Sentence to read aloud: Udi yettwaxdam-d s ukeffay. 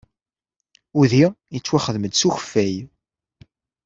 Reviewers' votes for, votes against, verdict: 2, 0, accepted